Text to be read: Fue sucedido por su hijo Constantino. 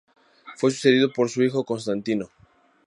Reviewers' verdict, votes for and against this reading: accepted, 2, 0